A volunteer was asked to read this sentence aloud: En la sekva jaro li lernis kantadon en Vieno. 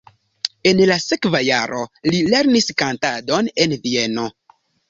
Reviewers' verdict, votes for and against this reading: accepted, 2, 0